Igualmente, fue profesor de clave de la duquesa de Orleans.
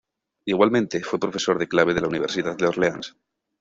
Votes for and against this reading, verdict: 0, 2, rejected